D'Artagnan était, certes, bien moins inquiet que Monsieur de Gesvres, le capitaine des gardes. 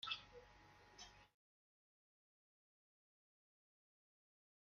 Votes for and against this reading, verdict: 0, 2, rejected